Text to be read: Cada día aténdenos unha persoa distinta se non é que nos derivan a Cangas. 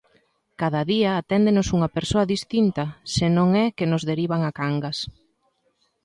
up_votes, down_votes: 2, 0